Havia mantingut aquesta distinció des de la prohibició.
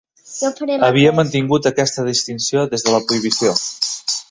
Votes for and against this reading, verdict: 1, 2, rejected